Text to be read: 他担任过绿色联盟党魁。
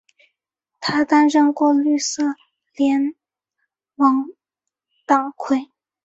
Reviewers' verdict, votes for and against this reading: accepted, 2, 1